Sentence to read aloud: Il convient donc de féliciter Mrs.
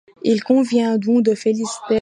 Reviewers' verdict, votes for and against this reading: rejected, 0, 2